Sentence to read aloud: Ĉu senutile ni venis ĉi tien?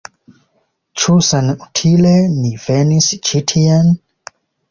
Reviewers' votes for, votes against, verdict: 0, 2, rejected